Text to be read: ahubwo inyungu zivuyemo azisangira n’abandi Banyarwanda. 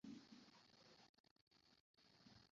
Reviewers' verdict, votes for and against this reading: rejected, 0, 2